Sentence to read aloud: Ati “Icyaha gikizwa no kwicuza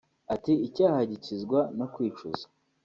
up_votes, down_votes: 2, 0